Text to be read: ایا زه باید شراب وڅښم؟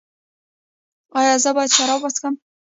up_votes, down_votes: 1, 2